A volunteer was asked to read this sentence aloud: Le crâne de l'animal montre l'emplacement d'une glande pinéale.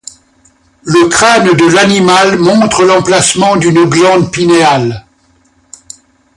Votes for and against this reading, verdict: 0, 2, rejected